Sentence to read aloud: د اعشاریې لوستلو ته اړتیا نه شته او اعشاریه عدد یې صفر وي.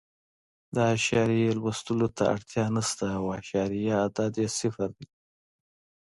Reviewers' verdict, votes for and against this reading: accepted, 2, 0